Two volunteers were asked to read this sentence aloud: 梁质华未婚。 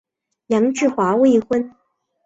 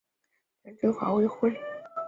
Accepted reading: first